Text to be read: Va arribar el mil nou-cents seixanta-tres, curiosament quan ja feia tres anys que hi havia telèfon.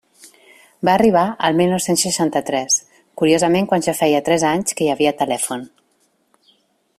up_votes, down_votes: 2, 0